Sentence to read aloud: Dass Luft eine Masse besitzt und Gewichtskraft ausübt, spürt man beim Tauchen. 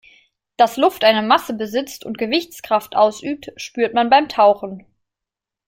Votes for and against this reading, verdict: 2, 0, accepted